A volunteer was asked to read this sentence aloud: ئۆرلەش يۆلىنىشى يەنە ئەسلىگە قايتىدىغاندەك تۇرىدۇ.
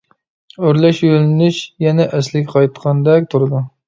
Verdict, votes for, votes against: rejected, 0, 2